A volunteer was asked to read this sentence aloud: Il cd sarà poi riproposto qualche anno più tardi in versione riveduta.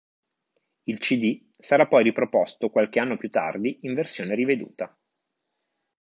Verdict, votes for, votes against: accepted, 2, 0